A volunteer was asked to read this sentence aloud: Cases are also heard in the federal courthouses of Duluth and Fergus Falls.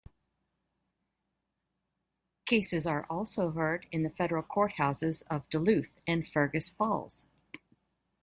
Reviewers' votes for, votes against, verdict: 2, 0, accepted